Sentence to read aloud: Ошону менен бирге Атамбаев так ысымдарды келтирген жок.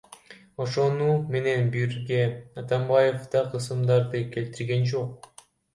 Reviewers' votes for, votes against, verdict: 0, 2, rejected